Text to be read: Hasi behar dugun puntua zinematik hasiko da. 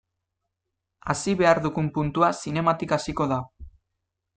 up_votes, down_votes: 2, 0